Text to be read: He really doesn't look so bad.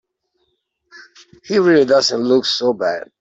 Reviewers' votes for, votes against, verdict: 3, 0, accepted